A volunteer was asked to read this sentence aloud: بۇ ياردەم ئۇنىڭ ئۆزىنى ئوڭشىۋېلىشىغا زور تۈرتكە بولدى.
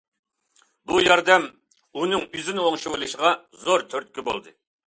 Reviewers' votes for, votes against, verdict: 2, 0, accepted